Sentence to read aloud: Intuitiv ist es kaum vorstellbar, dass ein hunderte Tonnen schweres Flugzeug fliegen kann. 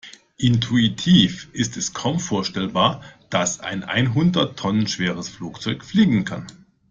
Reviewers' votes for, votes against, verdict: 1, 2, rejected